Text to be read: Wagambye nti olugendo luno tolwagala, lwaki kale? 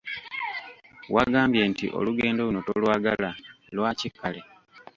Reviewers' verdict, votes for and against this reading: rejected, 1, 2